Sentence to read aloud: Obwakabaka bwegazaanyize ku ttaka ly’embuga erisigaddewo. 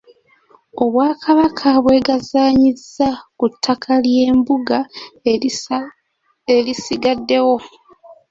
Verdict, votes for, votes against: rejected, 0, 2